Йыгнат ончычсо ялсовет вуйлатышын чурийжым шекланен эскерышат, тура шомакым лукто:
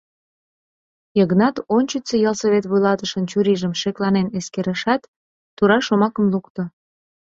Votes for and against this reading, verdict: 2, 0, accepted